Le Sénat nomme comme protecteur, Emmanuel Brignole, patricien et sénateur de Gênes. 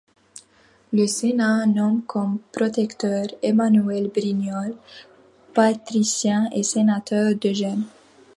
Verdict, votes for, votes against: accepted, 2, 0